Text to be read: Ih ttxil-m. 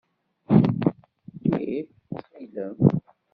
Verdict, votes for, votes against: rejected, 1, 2